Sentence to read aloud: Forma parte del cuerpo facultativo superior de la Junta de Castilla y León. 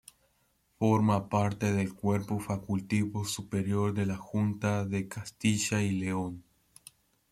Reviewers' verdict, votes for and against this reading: rejected, 1, 2